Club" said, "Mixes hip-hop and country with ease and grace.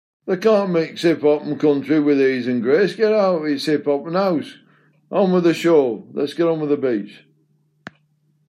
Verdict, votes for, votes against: rejected, 0, 2